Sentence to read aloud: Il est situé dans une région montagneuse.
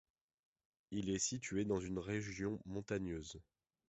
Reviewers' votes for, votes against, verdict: 2, 0, accepted